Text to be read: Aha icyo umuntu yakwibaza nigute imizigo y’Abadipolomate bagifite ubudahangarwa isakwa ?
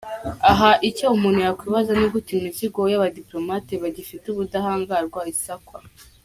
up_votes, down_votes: 2, 1